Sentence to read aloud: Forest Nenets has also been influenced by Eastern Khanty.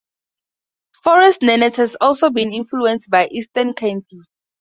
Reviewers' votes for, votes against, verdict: 4, 0, accepted